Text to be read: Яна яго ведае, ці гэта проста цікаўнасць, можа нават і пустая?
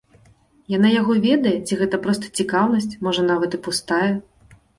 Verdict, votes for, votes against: accepted, 2, 0